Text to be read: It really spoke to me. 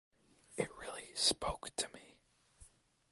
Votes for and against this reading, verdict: 0, 2, rejected